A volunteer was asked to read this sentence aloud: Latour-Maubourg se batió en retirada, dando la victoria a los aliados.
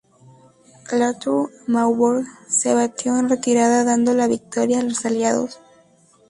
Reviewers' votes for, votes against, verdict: 2, 0, accepted